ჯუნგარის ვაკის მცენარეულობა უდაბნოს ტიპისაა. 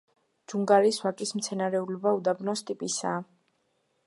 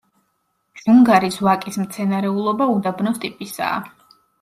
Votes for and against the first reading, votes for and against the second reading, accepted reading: 0, 2, 2, 1, second